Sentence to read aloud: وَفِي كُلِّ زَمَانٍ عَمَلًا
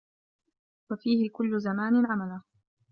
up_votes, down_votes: 1, 2